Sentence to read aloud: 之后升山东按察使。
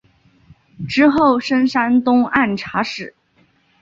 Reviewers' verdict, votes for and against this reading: accepted, 2, 0